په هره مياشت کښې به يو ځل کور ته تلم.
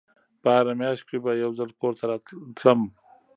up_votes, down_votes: 1, 2